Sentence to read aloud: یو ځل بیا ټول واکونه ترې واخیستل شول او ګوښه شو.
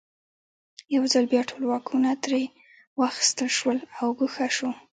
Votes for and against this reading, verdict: 2, 0, accepted